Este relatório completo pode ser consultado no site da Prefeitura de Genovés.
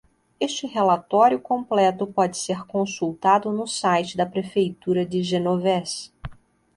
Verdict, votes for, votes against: accepted, 2, 0